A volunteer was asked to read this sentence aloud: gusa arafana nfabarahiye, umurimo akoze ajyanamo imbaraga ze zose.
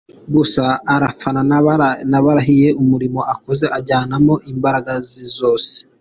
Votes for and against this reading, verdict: 2, 0, accepted